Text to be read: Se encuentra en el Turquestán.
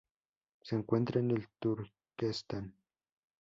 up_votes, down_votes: 0, 2